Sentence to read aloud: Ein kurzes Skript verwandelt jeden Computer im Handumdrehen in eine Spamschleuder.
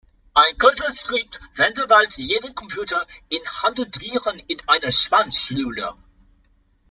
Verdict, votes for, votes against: rejected, 1, 2